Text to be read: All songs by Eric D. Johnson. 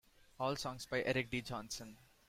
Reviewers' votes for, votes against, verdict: 2, 0, accepted